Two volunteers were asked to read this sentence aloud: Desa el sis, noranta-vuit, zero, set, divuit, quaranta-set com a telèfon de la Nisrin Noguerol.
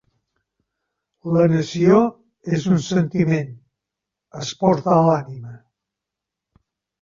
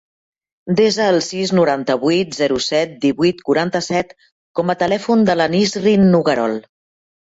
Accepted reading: second